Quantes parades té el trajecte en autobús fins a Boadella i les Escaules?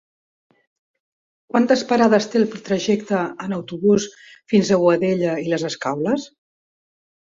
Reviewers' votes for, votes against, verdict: 2, 0, accepted